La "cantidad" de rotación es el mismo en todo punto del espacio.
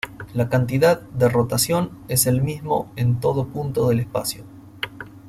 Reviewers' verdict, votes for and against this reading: rejected, 1, 2